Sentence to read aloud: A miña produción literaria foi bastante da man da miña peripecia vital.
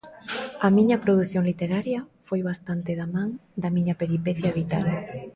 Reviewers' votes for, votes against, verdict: 2, 0, accepted